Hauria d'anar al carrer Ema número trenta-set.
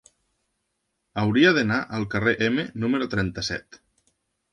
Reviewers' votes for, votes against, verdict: 0, 2, rejected